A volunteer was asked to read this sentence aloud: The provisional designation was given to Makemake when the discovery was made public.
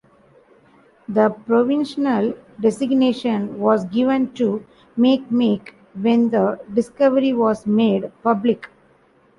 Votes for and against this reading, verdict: 2, 0, accepted